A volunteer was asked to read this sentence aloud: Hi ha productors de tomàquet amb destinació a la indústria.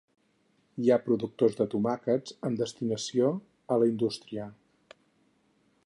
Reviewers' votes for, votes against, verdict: 2, 4, rejected